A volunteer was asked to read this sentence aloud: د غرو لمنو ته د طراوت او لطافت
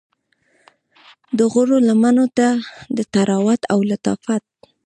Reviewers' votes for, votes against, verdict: 1, 2, rejected